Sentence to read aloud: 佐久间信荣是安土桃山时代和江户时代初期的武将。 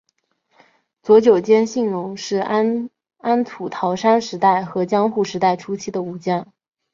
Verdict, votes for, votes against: accepted, 6, 2